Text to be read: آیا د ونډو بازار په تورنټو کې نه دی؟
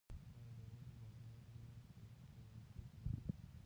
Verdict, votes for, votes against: rejected, 1, 2